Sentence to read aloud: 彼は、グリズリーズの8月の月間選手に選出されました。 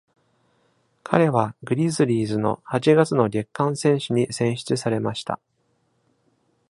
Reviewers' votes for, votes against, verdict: 0, 2, rejected